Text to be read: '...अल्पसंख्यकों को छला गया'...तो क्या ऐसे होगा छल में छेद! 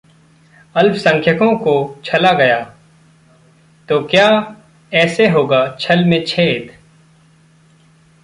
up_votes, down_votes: 2, 0